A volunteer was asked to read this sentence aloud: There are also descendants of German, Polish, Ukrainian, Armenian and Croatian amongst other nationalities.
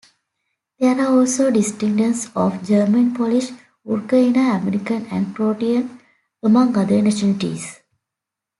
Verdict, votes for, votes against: rejected, 0, 2